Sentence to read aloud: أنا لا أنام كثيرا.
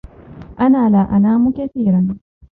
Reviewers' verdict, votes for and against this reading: accepted, 2, 0